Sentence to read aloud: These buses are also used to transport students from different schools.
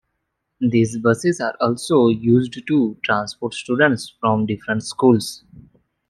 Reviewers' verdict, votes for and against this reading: accepted, 2, 0